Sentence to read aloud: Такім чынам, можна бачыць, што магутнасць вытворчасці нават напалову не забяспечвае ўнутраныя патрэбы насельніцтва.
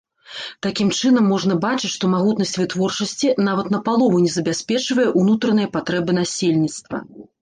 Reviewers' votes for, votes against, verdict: 2, 1, accepted